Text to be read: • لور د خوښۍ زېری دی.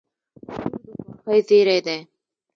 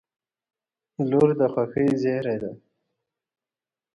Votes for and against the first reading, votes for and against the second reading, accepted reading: 0, 2, 3, 0, second